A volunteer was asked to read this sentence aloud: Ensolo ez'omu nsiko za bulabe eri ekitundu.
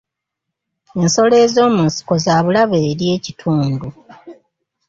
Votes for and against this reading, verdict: 2, 0, accepted